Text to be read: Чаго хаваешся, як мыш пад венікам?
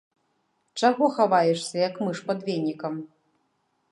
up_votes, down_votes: 1, 2